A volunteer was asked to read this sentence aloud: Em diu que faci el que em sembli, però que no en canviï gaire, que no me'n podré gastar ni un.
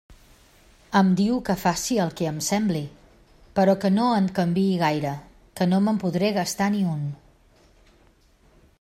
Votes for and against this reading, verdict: 2, 0, accepted